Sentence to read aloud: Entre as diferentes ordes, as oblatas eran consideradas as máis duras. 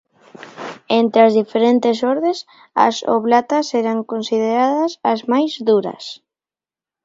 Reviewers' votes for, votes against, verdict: 3, 0, accepted